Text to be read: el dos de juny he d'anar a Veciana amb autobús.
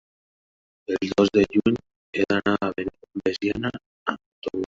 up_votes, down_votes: 0, 2